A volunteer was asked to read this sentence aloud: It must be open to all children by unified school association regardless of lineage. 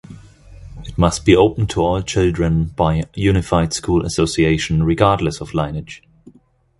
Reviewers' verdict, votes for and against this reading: rejected, 1, 2